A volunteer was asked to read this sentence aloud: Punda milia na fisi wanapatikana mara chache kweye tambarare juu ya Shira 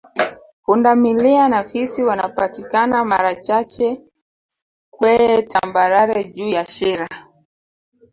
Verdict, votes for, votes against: accepted, 3, 1